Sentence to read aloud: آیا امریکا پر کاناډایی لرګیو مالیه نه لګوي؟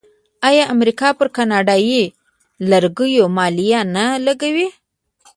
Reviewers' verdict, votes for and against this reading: rejected, 0, 2